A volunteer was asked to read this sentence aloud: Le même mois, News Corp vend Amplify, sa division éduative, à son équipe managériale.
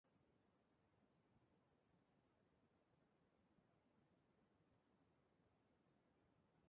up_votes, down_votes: 0, 2